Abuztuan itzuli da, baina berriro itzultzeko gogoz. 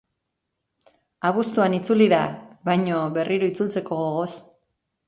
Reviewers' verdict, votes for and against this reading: rejected, 1, 2